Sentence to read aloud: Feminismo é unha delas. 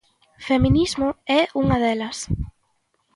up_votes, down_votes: 2, 0